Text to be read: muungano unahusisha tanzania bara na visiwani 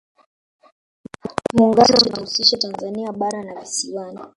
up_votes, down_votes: 0, 2